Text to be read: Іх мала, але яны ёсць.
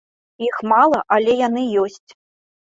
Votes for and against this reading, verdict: 3, 0, accepted